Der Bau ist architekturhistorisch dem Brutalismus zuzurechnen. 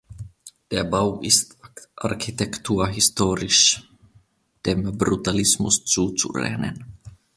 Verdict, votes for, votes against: rejected, 1, 2